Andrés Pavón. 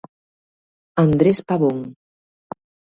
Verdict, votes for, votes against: accepted, 2, 0